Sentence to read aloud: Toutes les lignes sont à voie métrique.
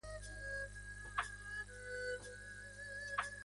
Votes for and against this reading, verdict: 0, 2, rejected